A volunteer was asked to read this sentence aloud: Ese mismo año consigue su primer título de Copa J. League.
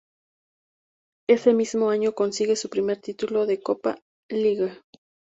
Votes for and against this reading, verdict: 0, 2, rejected